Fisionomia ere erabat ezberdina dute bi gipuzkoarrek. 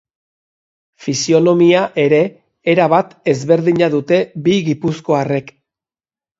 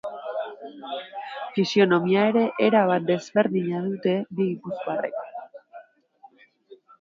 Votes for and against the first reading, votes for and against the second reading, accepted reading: 3, 0, 0, 2, first